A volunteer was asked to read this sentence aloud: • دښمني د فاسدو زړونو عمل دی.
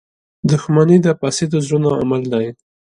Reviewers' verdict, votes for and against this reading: accepted, 2, 0